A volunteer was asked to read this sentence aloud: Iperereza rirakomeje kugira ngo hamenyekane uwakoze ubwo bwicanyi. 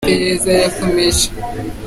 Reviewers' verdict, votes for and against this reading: rejected, 0, 3